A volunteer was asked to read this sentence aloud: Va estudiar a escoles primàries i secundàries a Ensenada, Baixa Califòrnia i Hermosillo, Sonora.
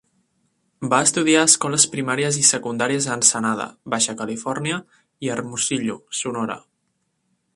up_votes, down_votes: 3, 0